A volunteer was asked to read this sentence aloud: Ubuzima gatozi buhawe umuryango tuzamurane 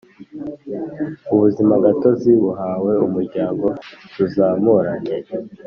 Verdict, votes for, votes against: accepted, 2, 0